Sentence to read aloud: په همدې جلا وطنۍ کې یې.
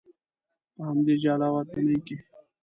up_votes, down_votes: 1, 2